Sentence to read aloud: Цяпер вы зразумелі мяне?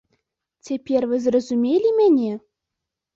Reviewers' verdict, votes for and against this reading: accepted, 4, 0